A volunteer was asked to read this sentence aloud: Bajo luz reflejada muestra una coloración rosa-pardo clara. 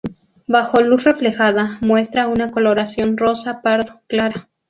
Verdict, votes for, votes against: rejected, 2, 2